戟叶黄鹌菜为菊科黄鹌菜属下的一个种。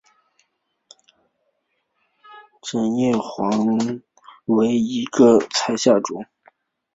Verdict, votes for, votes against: accepted, 4, 2